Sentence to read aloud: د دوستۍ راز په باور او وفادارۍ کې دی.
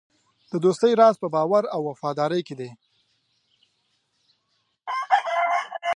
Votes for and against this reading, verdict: 0, 2, rejected